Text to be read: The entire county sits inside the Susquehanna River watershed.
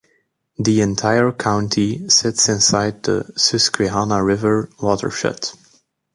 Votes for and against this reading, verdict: 1, 2, rejected